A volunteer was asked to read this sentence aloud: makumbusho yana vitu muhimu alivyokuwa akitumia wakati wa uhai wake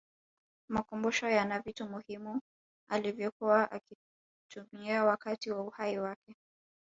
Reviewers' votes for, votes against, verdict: 4, 5, rejected